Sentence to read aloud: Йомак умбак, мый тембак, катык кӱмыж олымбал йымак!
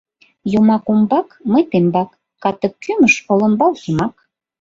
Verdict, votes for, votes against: accepted, 2, 0